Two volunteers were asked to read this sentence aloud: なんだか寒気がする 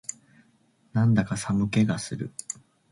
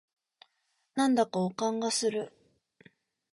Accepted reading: first